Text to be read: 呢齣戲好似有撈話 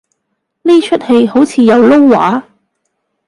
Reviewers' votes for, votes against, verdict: 1, 2, rejected